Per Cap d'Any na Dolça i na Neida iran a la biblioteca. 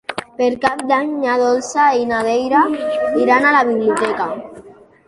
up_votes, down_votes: 2, 1